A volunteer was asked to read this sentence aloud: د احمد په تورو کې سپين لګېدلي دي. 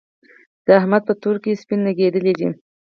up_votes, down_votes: 4, 0